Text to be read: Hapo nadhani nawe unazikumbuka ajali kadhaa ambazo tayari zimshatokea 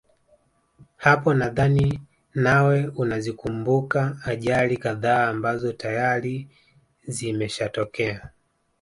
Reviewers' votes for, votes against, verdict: 3, 0, accepted